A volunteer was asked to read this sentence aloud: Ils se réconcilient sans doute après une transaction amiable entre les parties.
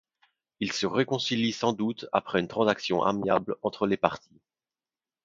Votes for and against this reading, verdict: 0, 2, rejected